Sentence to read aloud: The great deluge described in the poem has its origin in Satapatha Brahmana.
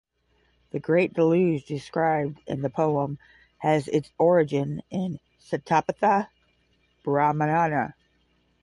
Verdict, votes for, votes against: rejected, 0, 5